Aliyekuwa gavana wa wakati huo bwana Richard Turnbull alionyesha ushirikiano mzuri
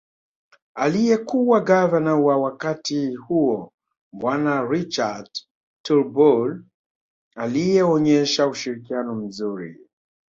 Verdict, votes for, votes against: rejected, 1, 2